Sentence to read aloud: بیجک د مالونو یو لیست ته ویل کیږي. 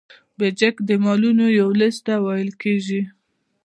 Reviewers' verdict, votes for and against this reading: accepted, 2, 0